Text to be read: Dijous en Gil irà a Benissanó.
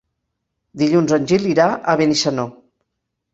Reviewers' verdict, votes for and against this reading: rejected, 0, 2